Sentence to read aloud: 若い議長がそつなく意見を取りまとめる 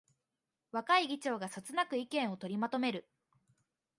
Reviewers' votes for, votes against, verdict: 2, 0, accepted